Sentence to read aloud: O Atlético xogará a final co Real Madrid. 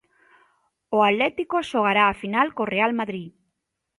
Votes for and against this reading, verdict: 2, 0, accepted